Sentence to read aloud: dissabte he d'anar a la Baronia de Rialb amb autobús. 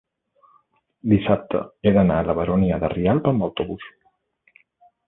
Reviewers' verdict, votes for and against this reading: accepted, 2, 0